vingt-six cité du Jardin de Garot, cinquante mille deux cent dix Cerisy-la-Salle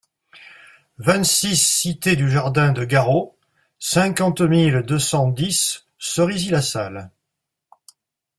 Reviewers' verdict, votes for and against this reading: accepted, 2, 0